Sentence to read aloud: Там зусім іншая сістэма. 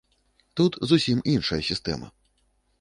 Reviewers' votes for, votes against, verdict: 1, 2, rejected